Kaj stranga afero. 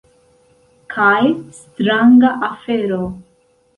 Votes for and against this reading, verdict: 2, 0, accepted